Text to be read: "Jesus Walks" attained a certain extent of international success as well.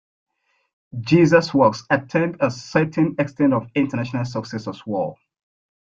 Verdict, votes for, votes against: rejected, 0, 2